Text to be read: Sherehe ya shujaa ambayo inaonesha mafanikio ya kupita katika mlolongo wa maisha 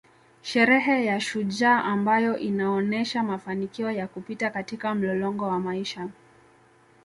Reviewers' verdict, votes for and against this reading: accepted, 2, 0